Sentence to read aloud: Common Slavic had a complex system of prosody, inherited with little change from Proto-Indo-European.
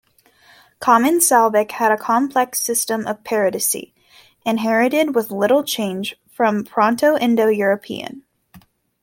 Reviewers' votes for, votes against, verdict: 0, 2, rejected